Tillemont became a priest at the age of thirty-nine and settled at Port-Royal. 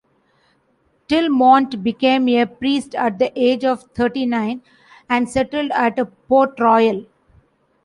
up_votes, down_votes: 1, 2